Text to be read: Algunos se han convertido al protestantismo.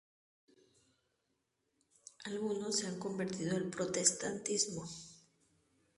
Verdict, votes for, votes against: accepted, 2, 0